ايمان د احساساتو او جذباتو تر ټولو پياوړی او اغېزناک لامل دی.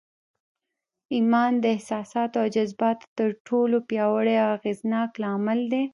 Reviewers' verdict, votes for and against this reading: accepted, 2, 0